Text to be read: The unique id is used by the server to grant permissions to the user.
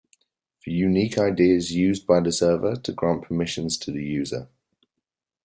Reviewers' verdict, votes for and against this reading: accepted, 2, 0